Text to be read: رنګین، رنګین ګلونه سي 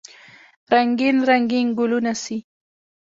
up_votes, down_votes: 1, 2